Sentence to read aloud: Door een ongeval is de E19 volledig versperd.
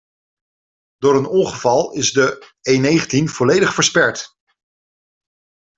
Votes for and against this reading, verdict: 0, 2, rejected